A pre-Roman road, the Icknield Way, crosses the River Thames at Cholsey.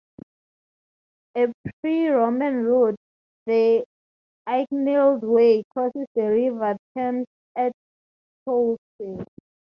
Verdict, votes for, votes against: rejected, 2, 2